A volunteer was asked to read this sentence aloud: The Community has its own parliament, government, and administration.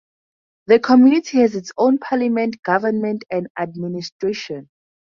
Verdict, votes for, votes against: accepted, 4, 0